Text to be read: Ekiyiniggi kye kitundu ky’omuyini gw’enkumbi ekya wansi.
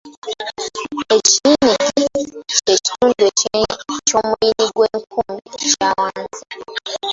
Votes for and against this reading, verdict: 0, 2, rejected